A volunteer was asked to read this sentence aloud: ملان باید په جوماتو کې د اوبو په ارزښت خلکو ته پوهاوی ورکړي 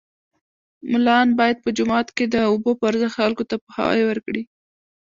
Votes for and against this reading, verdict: 1, 2, rejected